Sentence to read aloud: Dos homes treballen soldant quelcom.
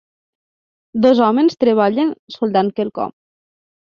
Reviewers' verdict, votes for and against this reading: accepted, 3, 1